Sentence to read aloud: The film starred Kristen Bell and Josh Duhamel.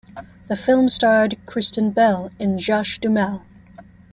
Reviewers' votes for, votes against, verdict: 2, 0, accepted